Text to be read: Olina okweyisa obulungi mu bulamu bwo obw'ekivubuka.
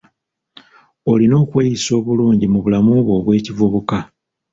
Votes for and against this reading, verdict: 3, 1, accepted